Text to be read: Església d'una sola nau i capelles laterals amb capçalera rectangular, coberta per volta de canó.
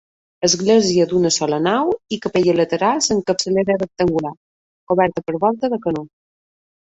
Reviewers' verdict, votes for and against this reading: accepted, 2, 0